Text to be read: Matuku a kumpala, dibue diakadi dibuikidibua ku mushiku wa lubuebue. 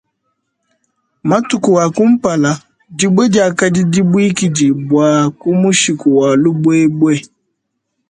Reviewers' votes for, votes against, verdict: 2, 0, accepted